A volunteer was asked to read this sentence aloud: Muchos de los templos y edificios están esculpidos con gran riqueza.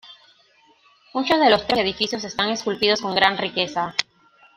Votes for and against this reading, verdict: 0, 2, rejected